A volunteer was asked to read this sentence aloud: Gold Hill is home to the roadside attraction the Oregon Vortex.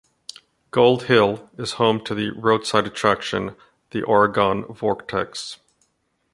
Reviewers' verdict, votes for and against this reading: accepted, 2, 1